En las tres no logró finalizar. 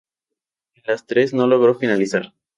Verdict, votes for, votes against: accepted, 2, 0